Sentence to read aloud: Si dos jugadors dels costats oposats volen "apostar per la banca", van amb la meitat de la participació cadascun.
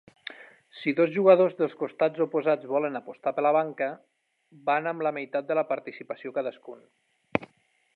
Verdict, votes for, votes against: accepted, 3, 0